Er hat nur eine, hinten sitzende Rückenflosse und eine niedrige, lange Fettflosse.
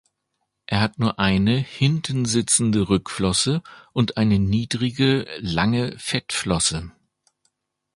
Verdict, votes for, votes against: rejected, 0, 2